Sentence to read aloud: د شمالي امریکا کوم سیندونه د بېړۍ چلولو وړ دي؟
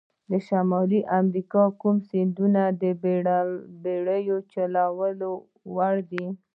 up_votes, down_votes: 0, 2